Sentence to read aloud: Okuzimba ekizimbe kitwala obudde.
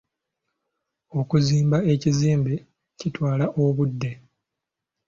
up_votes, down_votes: 2, 0